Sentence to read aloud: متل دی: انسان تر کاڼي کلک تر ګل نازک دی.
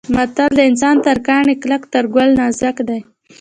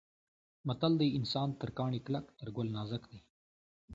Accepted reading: second